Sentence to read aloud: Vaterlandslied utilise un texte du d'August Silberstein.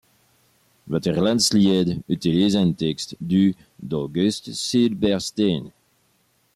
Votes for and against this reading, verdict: 2, 0, accepted